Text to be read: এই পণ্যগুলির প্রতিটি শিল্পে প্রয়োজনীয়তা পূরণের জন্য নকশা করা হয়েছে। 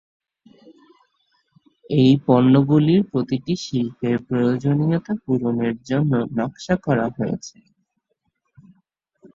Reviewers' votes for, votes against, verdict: 2, 2, rejected